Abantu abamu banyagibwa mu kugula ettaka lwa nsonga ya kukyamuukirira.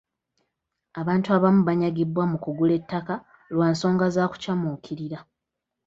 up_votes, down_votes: 0, 2